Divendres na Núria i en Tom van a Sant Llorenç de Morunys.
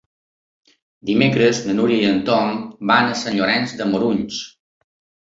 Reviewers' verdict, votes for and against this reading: rejected, 0, 2